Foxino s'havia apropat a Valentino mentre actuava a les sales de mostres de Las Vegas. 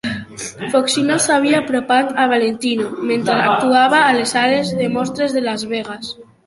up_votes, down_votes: 0, 2